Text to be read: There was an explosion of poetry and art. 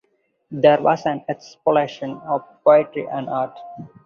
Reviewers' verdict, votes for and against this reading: accepted, 4, 2